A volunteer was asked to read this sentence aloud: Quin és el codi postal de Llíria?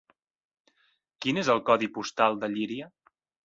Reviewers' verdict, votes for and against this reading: accepted, 3, 0